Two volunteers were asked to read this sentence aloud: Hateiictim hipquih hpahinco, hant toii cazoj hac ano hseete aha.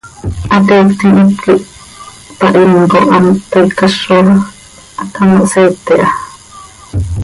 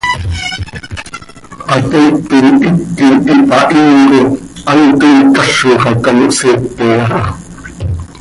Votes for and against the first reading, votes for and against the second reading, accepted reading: 2, 0, 0, 2, first